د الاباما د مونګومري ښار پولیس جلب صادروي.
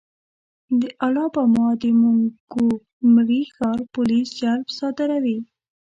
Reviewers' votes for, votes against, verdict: 0, 2, rejected